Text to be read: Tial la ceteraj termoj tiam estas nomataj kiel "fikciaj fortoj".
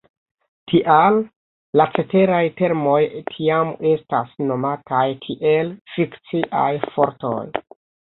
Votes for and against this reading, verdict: 0, 2, rejected